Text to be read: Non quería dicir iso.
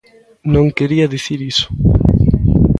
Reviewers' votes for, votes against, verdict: 2, 0, accepted